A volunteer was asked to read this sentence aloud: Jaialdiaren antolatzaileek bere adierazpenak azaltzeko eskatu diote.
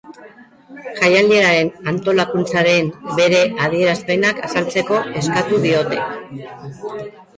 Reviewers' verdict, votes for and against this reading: rejected, 0, 2